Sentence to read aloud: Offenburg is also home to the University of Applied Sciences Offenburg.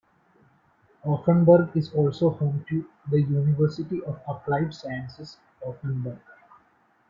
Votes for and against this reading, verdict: 1, 2, rejected